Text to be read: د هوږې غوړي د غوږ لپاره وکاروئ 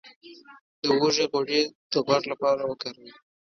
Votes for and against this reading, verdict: 2, 0, accepted